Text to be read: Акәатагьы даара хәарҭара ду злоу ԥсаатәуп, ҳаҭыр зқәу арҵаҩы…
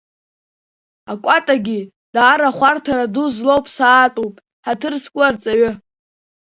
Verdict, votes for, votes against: accepted, 2, 0